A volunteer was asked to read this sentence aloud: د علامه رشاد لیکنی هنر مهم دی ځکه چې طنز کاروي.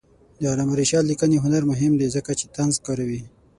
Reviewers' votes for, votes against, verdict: 3, 6, rejected